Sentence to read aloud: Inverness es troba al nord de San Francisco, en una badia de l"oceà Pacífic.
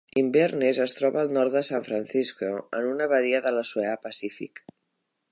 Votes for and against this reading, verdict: 2, 1, accepted